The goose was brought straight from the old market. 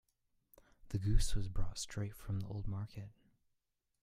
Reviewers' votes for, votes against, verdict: 0, 2, rejected